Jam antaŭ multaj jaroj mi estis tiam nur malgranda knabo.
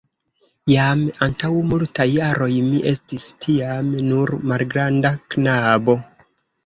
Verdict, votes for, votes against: rejected, 0, 2